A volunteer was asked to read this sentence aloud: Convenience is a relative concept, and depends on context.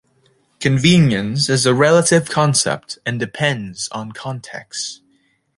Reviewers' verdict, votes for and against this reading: rejected, 1, 2